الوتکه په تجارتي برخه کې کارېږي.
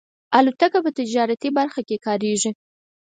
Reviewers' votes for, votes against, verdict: 6, 0, accepted